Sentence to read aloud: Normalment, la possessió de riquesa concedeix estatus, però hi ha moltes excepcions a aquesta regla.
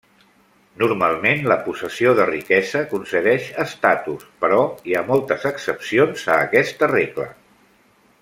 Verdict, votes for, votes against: rejected, 0, 2